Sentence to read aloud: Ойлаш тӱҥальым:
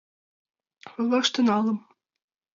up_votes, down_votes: 1, 2